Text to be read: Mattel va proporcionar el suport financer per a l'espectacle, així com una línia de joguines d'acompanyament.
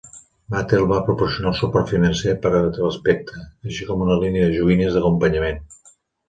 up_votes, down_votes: 0, 2